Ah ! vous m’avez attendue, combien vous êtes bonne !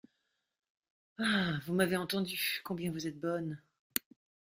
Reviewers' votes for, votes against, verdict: 1, 2, rejected